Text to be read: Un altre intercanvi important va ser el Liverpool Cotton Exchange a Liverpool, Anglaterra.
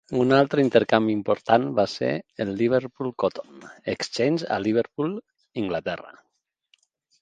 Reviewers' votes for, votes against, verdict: 0, 2, rejected